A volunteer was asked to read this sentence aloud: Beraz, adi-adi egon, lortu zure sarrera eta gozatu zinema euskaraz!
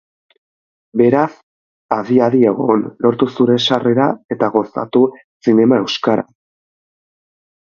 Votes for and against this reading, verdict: 0, 4, rejected